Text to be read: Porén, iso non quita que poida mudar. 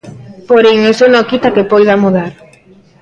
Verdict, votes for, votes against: rejected, 1, 2